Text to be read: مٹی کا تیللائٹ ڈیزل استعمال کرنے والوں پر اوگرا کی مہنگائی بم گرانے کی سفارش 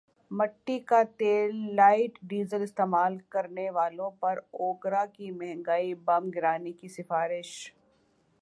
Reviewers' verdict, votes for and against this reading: accepted, 3, 1